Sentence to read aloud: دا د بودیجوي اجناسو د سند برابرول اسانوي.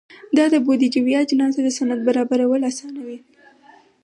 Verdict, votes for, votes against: accepted, 4, 0